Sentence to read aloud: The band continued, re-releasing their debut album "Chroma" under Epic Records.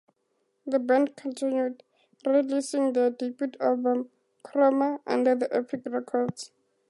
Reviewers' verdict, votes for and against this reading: rejected, 0, 2